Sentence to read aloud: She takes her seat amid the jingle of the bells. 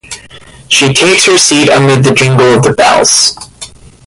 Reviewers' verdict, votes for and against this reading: rejected, 1, 2